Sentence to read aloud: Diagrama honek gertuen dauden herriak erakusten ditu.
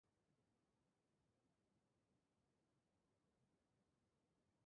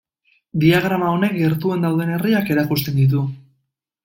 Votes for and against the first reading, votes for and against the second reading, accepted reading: 0, 2, 2, 1, second